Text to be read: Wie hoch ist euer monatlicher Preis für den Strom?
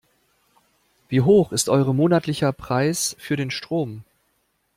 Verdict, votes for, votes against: rejected, 0, 2